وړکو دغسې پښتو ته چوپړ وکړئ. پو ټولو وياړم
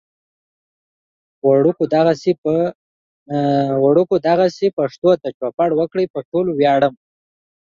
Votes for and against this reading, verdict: 1, 2, rejected